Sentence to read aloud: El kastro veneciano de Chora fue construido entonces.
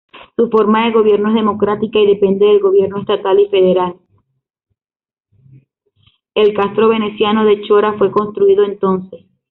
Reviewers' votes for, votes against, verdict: 0, 2, rejected